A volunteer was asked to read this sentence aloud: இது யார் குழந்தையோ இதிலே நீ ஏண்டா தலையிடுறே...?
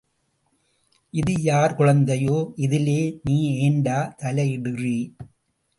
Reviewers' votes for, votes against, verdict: 0, 2, rejected